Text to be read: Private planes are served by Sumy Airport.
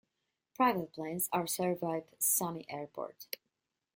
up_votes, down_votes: 2, 0